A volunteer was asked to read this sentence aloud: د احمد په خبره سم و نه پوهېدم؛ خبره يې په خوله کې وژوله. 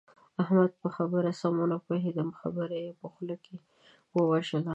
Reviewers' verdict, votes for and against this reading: rejected, 1, 5